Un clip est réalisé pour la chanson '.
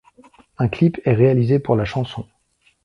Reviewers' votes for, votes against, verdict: 2, 0, accepted